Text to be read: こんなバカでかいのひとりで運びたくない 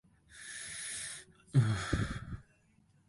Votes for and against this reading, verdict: 0, 4, rejected